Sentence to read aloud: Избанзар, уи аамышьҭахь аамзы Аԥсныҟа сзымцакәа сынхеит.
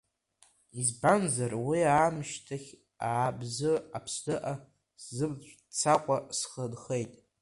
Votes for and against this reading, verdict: 1, 2, rejected